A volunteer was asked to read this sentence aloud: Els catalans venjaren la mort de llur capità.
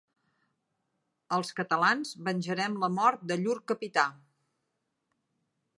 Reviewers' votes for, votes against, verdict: 0, 2, rejected